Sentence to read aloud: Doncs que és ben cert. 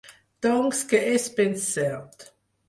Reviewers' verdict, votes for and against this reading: accepted, 4, 0